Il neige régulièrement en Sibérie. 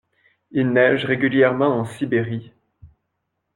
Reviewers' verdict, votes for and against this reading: accepted, 2, 0